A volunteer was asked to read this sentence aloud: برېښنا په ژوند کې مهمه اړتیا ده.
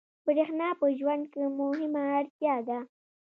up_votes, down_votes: 2, 0